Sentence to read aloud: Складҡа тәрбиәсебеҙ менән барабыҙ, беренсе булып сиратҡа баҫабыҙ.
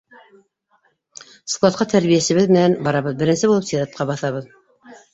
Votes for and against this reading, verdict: 1, 2, rejected